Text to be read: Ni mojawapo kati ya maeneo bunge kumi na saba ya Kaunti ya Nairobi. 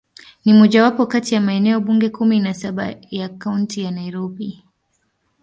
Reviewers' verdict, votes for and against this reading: rejected, 1, 2